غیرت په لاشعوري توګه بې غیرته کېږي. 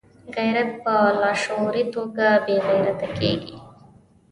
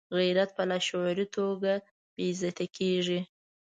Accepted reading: first